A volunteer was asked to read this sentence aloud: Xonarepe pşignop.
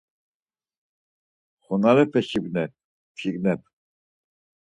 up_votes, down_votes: 0, 4